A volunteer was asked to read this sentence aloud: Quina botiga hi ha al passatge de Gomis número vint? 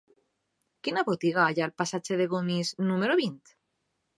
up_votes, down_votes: 2, 0